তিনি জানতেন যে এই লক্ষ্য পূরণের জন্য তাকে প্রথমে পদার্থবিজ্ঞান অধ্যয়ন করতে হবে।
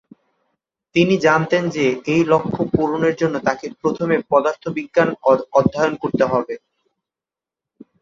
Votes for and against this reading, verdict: 1, 2, rejected